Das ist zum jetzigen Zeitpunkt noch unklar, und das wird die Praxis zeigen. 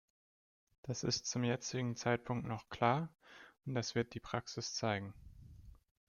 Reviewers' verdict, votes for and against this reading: rejected, 0, 2